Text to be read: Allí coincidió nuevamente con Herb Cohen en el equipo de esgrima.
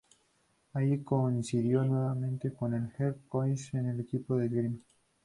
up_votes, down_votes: 0, 4